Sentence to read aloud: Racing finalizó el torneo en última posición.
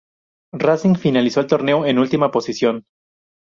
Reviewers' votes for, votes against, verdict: 2, 0, accepted